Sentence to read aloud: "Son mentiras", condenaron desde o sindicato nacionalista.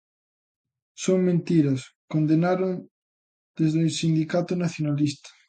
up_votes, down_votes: 2, 0